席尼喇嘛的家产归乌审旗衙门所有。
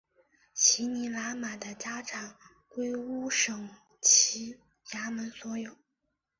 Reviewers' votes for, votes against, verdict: 2, 0, accepted